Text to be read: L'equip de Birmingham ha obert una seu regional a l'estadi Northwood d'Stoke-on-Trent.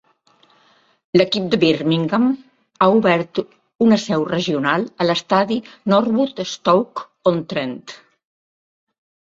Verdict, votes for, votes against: accepted, 2, 0